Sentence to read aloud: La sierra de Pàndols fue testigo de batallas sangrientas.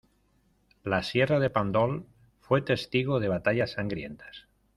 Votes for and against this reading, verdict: 2, 0, accepted